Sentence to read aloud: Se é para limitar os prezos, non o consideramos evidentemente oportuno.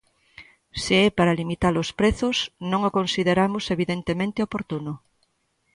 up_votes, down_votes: 2, 0